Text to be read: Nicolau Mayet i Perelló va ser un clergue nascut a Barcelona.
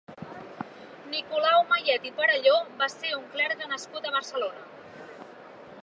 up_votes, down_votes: 2, 0